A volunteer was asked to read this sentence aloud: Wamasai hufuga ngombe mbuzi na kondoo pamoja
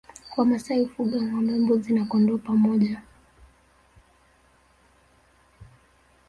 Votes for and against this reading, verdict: 3, 0, accepted